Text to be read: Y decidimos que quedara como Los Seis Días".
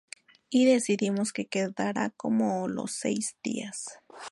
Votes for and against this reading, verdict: 2, 0, accepted